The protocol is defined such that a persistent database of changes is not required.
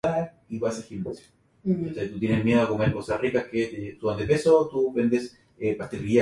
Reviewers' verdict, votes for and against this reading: rejected, 0, 2